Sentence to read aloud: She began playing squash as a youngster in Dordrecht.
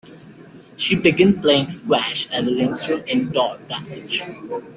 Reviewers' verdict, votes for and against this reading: rejected, 0, 2